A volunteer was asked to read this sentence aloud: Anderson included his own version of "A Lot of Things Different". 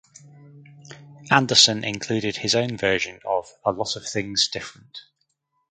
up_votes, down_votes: 4, 0